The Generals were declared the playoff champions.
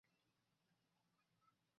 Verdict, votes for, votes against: rejected, 0, 2